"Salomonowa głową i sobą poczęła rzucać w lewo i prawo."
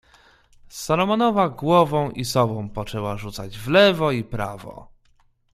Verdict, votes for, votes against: accepted, 2, 0